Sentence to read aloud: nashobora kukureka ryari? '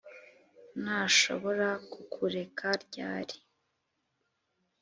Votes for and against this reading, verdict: 3, 0, accepted